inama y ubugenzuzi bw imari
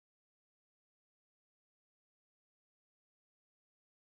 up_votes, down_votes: 1, 3